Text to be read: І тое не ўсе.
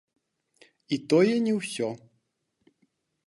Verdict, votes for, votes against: rejected, 0, 2